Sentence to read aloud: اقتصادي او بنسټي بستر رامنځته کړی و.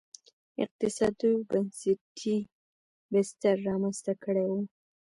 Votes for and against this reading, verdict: 2, 1, accepted